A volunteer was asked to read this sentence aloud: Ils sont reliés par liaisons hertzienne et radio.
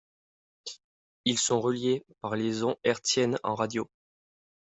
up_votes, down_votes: 0, 2